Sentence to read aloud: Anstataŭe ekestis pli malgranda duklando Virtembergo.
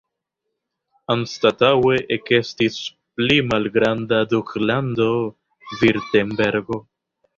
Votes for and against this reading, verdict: 2, 0, accepted